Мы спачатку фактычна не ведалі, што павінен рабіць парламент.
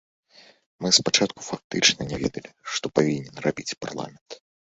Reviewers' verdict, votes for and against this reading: accepted, 2, 1